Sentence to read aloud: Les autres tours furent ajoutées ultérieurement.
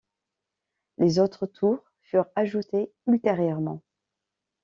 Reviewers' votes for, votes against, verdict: 2, 0, accepted